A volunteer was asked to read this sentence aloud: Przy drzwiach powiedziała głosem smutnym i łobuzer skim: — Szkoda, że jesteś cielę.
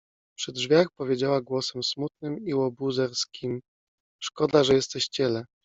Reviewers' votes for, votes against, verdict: 0, 2, rejected